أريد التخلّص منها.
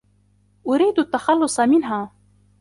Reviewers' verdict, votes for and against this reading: accepted, 2, 0